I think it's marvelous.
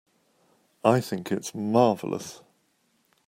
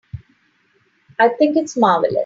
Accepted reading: first